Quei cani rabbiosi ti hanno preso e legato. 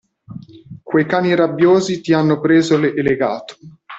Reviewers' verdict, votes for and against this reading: rejected, 0, 2